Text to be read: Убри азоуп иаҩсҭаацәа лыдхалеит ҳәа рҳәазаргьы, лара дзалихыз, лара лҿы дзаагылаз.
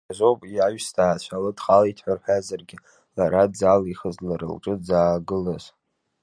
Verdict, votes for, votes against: accepted, 2, 1